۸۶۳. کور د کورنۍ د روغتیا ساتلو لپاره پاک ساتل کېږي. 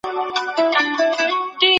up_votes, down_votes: 0, 2